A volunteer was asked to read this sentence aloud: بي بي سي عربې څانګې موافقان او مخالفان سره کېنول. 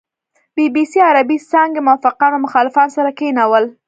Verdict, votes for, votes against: accepted, 2, 0